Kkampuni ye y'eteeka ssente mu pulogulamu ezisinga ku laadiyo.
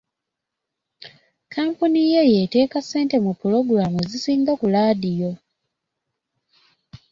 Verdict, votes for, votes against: accepted, 2, 0